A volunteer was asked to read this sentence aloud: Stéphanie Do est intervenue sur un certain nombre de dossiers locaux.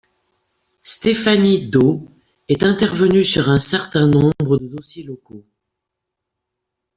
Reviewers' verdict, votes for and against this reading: accepted, 2, 0